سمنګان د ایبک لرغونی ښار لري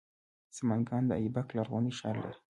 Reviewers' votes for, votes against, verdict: 2, 0, accepted